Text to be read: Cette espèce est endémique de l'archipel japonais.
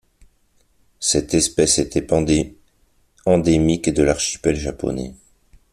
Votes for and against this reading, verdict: 0, 2, rejected